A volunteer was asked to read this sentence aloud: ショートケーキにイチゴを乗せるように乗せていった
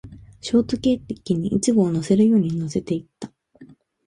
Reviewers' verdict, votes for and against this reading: accepted, 2, 1